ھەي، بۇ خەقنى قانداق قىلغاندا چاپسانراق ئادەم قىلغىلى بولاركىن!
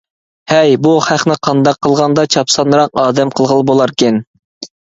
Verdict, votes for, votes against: accepted, 2, 0